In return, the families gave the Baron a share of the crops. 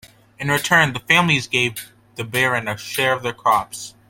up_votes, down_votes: 2, 0